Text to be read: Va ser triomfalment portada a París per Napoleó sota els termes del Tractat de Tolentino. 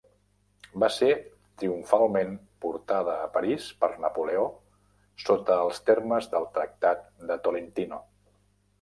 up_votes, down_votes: 3, 1